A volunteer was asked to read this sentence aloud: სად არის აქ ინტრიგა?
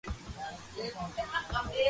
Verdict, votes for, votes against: rejected, 0, 2